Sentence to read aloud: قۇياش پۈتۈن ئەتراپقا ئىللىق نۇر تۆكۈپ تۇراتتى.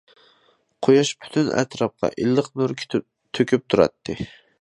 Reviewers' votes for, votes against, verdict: 2, 0, accepted